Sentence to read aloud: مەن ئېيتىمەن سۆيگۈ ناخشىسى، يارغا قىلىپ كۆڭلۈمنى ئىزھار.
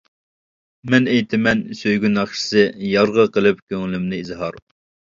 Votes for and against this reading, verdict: 2, 0, accepted